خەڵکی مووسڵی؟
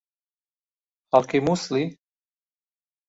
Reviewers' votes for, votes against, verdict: 2, 0, accepted